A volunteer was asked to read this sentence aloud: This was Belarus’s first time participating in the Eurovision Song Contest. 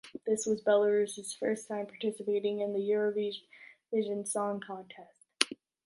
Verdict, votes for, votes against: rejected, 0, 2